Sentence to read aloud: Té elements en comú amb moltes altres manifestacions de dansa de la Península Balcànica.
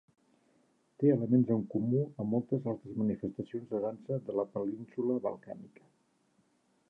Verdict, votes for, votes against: accepted, 2, 0